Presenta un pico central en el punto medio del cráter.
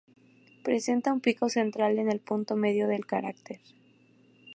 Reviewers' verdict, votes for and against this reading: rejected, 0, 2